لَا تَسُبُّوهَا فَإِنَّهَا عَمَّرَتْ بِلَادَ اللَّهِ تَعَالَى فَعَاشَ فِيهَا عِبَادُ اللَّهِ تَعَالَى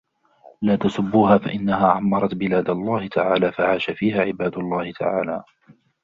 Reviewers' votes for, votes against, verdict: 2, 1, accepted